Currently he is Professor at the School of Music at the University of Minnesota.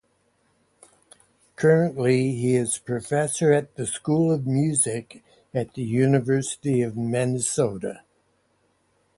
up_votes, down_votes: 0, 2